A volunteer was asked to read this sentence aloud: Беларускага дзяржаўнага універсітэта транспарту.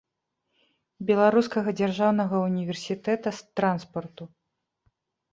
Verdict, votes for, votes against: rejected, 1, 2